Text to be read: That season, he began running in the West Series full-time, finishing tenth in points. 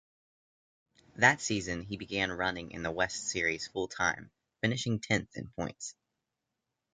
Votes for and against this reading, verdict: 2, 0, accepted